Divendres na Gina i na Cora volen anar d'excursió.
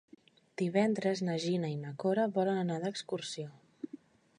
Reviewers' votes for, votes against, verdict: 3, 0, accepted